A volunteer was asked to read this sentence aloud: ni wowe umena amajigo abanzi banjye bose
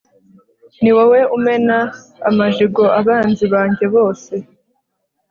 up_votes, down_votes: 2, 0